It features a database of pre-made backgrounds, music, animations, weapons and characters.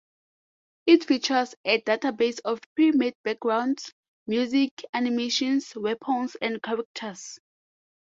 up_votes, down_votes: 2, 0